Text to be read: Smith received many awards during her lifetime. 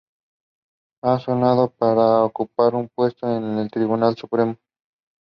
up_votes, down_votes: 0, 2